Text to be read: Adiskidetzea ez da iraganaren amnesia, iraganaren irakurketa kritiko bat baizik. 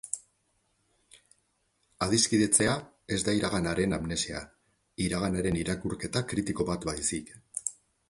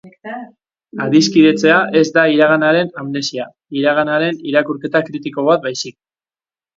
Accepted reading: first